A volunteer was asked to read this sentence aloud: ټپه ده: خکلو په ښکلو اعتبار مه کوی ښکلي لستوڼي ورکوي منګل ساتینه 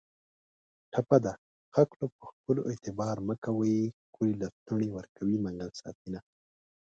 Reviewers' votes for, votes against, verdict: 1, 2, rejected